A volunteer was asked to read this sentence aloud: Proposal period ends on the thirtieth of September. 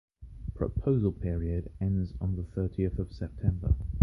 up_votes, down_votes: 2, 1